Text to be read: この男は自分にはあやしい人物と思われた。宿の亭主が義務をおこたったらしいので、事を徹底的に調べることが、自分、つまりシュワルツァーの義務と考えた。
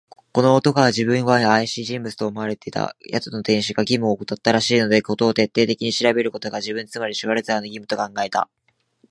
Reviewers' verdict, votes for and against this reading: rejected, 2, 5